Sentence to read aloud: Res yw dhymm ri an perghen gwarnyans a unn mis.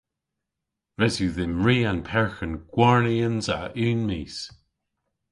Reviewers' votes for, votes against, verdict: 2, 0, accepted